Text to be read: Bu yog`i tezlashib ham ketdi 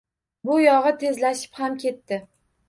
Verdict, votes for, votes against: rejected, 1, 2